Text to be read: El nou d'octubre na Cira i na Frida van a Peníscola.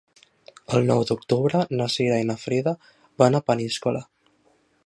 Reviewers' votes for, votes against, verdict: 3, 0, accepted